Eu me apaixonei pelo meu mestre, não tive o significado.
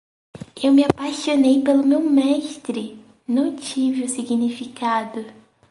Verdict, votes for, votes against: accepted, 4, 0